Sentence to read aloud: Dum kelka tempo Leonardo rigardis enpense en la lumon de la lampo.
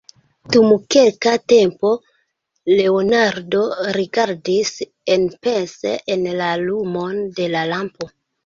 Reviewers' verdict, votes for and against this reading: accepted, 2, 1